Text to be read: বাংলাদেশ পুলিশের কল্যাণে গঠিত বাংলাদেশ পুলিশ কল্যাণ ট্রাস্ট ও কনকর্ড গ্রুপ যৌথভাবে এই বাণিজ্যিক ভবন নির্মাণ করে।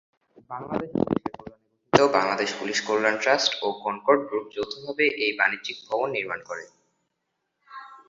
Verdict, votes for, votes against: rejected, 1, 3